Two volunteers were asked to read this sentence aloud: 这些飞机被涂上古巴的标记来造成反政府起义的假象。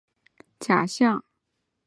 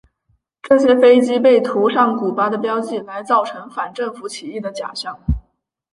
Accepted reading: second